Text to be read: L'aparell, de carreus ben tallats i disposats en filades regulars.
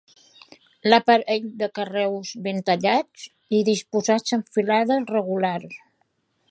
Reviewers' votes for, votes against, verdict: 2, 1, accepted